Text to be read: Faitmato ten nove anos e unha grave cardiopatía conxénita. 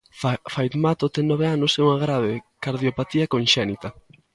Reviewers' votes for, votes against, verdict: 0, 2, rejected